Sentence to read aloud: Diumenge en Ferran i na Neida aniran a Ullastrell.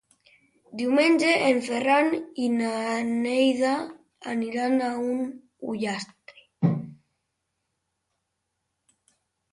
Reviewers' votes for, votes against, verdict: 0, 2, rejected